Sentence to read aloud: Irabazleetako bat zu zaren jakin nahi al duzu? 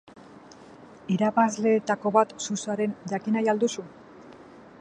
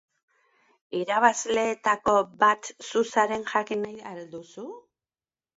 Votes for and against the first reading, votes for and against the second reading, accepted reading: 2, 0, 1, 2, first